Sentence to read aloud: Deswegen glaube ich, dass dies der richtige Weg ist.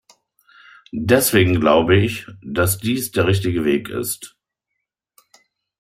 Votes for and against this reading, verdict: 2, 0, accepted